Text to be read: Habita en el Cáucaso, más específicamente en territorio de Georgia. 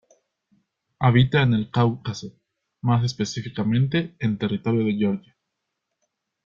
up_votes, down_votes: 2, 0